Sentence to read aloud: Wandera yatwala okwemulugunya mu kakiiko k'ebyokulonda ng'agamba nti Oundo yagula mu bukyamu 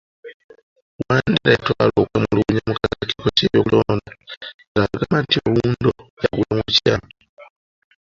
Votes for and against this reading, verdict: 1, 2, rejected